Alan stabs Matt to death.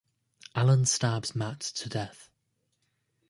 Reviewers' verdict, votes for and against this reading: accepted, 2, 0